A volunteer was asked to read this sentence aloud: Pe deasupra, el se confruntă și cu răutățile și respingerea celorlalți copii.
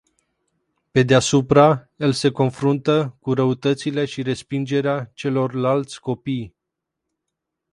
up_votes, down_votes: 0, 2